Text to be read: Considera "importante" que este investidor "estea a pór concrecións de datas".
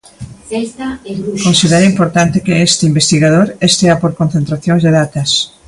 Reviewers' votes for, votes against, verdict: 0, 2, rejected